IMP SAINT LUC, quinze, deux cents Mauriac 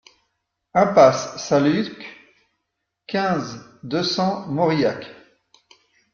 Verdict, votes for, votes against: accepted, 2, 1